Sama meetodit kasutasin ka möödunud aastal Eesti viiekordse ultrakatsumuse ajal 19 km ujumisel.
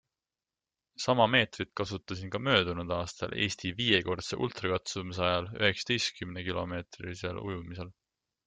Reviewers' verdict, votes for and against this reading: rejected, 0, 2